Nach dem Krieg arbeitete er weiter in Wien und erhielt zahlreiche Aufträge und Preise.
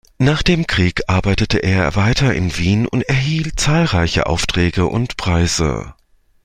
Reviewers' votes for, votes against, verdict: 2, 0, accepted